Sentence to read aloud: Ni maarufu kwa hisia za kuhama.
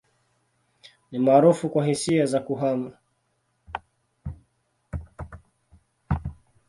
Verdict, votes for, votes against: accepted, 2, 1